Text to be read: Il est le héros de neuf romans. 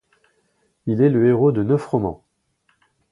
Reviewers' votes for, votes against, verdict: 2, 1, accepted